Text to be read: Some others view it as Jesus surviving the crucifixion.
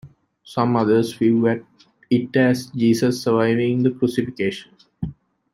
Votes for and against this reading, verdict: 0, 2, rejected